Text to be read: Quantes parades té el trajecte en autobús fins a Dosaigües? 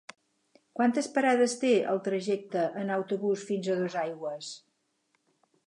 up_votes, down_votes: 8, 0